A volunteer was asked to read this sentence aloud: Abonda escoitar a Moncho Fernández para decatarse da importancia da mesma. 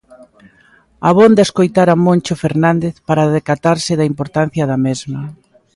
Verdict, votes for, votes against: accepted, 2, 0